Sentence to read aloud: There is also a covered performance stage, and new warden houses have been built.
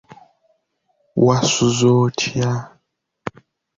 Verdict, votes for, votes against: rejected, 0, 2